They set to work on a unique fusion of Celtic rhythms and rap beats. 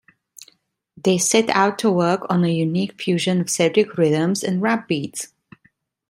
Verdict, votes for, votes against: rejected, 0, 2